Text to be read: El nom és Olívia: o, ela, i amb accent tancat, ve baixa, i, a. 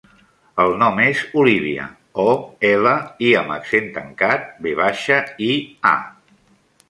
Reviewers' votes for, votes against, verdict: 3, 0, accepted